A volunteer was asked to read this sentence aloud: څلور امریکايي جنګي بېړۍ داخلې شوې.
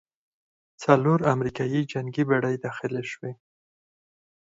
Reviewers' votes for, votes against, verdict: 0, 4, rejected